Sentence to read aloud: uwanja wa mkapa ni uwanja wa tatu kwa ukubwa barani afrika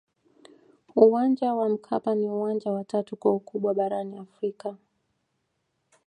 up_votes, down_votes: 2, 1